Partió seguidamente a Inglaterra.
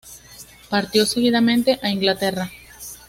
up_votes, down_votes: 2, 0